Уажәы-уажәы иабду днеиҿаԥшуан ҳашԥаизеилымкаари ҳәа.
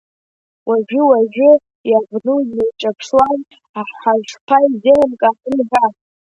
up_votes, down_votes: 0, 2